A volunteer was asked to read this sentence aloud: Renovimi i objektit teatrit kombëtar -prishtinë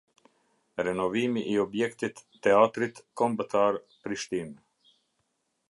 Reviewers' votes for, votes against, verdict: 2, 0, accepted